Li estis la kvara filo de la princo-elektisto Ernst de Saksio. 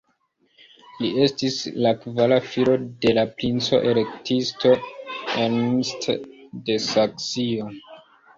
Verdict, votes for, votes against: accepted, 2, 1